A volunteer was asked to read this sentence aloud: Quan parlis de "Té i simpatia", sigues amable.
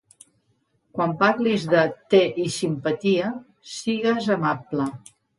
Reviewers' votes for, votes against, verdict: 2, 0, accepted